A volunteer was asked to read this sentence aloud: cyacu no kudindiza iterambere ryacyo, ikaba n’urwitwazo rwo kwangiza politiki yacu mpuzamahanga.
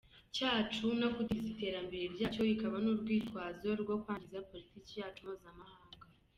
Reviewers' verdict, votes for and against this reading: rejected, 0, 2